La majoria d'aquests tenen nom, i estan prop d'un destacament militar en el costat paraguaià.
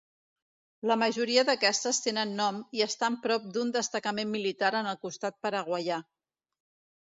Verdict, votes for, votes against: rejected, 1, 2